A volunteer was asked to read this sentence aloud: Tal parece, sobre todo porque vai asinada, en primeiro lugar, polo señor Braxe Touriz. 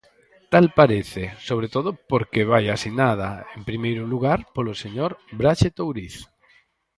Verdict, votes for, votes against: accepted, 4, 0